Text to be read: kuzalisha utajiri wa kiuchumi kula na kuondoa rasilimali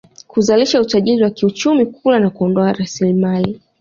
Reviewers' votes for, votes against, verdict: 2, 0, accepted